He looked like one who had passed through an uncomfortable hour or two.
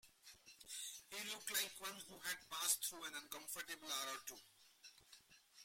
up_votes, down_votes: 0, 2